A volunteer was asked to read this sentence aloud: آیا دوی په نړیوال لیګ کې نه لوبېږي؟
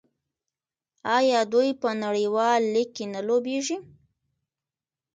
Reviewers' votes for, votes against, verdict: 2, 0, accepted